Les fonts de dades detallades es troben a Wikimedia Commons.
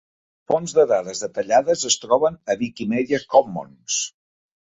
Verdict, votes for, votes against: rejected, 1, 2